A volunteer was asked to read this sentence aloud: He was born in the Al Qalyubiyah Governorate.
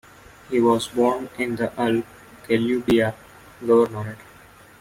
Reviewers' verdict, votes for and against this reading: rejected, 1, 2